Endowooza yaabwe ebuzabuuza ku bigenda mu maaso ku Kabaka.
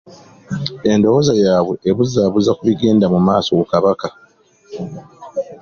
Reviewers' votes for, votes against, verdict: 2, 0, accepted